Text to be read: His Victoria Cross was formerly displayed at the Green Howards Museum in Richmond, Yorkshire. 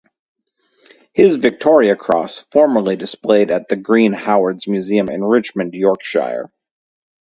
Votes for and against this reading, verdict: 0, 2, rejected